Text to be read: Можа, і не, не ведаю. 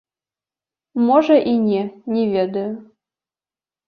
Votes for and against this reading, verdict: 1, 2, rejected